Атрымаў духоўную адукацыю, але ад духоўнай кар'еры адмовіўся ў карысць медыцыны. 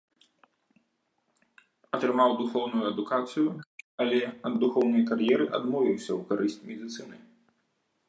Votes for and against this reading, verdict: 3, 0, accepted